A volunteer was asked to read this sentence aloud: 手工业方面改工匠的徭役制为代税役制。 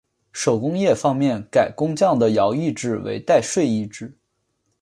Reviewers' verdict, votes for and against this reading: accepted, 2, 1